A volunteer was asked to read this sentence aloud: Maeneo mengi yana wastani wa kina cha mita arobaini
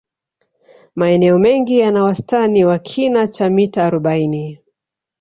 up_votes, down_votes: 2, 0